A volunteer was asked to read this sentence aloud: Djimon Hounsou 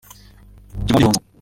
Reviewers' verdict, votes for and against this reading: rejected, 0, 2